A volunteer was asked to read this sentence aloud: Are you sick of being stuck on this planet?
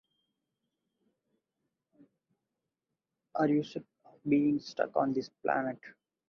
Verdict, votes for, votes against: rejected, 2, 2